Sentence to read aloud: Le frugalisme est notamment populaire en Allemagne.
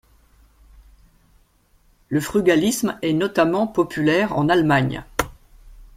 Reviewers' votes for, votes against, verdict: 2, 0, accepted